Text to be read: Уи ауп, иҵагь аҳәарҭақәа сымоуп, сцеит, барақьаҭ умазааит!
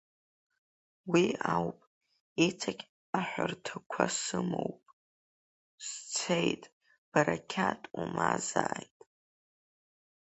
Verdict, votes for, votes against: rejected, 1, 3